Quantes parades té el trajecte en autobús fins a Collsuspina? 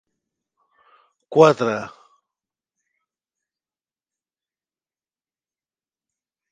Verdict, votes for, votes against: rejected, 1, 2